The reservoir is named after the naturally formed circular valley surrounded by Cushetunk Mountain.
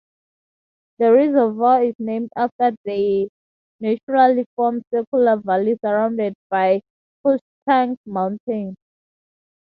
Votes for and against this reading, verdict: 2, 0, accepted